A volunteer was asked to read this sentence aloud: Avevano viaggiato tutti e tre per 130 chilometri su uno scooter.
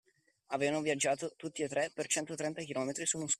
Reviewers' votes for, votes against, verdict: 0, 2, rejected